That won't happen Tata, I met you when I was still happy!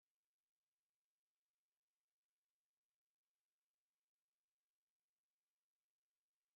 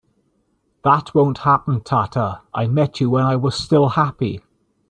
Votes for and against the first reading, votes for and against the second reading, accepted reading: 0, 2, 2, 0, second